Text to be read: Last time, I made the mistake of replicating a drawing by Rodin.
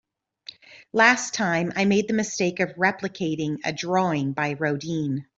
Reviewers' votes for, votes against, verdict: 2, 1, accepted